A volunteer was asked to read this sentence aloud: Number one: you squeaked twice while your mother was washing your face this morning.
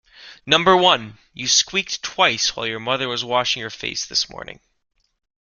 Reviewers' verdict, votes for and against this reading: accepted, 2, 0